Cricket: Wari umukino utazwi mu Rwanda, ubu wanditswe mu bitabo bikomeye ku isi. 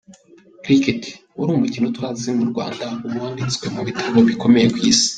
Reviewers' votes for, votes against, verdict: 2, 1, accepted